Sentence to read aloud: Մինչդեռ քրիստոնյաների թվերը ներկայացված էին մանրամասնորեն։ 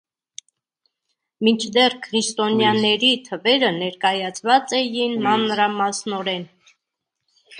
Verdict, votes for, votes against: rejected, 1, 3